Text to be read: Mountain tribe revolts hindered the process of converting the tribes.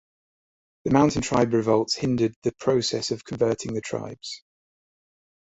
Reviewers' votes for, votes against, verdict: 1, 3, rejected